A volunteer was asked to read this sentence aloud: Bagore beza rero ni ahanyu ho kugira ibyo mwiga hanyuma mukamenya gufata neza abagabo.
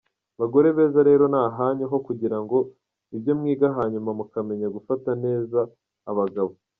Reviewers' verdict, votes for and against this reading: rejected, 0, 2